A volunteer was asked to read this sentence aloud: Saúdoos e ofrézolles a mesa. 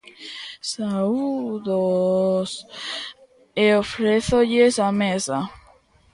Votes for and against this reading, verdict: 1, 2, rejected